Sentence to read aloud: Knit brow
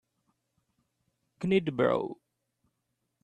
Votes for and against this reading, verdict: 2, 0, accepted